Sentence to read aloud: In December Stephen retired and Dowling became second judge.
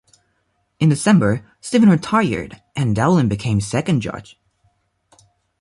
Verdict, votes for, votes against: rejected, 1, 2